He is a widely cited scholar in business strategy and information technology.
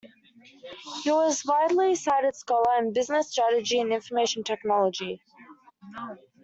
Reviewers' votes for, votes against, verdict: 1, 2, rejected